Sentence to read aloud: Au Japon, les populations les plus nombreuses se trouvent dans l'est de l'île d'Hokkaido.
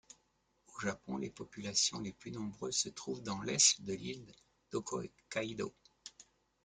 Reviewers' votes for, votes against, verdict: 1, 2, rejected